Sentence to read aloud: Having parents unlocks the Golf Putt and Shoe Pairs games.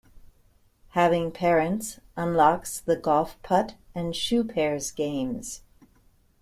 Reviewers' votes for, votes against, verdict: 1, 2, rejected